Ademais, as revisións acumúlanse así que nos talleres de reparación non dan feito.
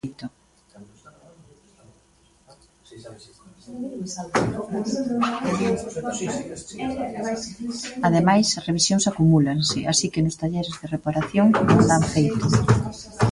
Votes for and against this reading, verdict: 0, 2, rejected